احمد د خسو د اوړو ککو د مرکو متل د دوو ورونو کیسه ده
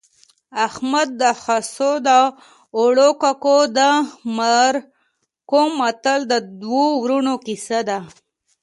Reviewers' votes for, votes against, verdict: 2, 1, accepted